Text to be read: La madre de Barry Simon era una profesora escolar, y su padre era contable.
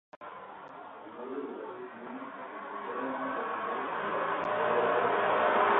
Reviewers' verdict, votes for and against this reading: rejected, 0, 2